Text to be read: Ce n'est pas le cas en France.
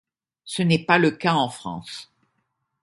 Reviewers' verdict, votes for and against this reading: accepted, 2, 0